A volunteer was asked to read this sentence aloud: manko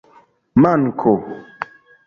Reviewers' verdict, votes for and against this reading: accepted, 2, 0